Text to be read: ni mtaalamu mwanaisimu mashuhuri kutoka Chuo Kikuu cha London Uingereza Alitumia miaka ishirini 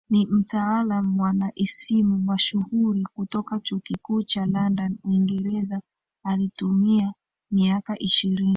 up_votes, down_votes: 1, 2